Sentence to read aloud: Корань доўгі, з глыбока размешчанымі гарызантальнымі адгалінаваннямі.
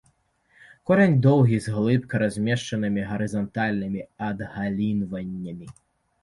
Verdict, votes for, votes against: rejected, 0, 2